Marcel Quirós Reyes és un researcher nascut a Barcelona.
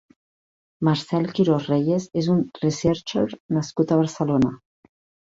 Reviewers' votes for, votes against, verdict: 1, 2, rejected